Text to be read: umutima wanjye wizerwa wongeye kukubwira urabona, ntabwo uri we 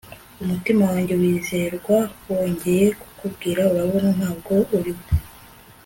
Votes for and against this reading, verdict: 3, 0, accepted